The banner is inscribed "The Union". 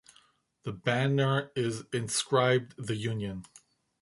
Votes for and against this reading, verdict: 2, 0, accepted